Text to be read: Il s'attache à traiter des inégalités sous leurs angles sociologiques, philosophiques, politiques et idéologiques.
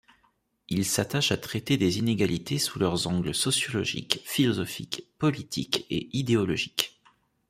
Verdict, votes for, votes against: accepted, 2, 0